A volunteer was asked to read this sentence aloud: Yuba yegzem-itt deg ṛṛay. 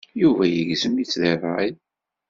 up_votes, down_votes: 2, 0